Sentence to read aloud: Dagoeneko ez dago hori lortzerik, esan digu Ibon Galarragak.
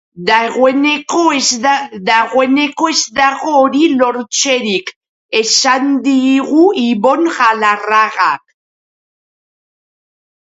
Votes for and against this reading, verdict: 0, 3, rejected